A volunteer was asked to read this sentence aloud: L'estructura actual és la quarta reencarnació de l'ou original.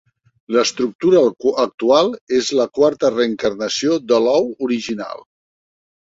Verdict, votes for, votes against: rejected, 0, 3